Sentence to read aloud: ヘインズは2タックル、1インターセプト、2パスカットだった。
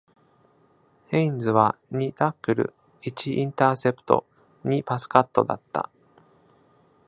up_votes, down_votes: 0, 2